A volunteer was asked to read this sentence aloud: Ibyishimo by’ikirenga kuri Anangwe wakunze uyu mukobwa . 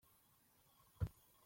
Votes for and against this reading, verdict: 0, 2, rejected